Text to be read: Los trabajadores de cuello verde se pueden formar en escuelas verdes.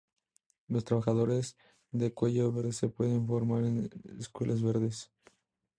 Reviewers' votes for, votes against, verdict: 2, 0, accepted